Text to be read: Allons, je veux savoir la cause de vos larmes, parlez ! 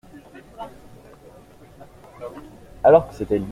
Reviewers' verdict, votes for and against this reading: rejected, 0, 2